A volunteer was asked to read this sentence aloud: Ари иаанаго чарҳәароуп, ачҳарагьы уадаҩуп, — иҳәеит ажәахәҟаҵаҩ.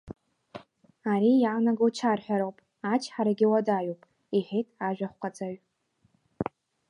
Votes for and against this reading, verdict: 2, 0, accepted